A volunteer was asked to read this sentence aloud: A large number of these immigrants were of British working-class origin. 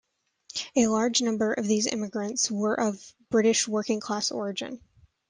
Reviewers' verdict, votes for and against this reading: accepted, 2, 0